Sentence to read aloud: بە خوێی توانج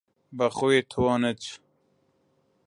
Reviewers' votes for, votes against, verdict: 0, 2, rejected